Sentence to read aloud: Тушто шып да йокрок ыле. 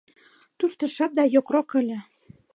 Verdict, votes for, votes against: accepted, 2, 0